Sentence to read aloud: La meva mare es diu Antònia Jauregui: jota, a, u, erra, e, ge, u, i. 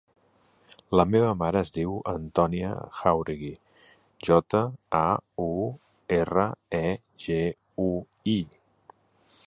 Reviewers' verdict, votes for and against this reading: accepted, 2, 0